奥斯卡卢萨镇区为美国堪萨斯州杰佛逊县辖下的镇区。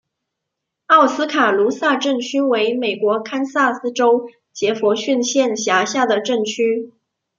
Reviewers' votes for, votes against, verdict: 2, 0, accepted